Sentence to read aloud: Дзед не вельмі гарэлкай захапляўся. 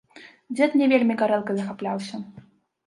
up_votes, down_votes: 0, 2